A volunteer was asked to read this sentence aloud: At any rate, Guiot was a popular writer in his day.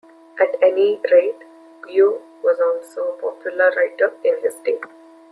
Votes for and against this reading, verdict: 0, 2, rejected